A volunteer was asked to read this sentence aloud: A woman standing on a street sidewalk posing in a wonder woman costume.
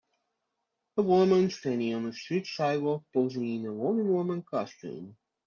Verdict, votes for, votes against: accepted, 2, 1